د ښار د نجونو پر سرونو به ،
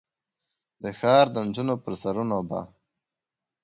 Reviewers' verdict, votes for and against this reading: accepted, 2, 0